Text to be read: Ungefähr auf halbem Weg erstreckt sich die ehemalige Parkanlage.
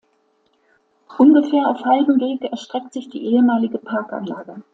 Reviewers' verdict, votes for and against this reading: accepted, 2, 1